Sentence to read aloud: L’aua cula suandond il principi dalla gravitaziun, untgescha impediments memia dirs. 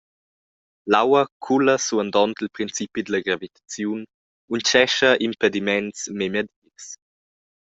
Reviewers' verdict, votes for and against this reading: rejected, 1, 2